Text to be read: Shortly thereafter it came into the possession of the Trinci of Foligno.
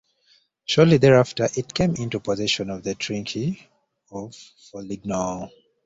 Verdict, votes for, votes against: rejected, 1, 2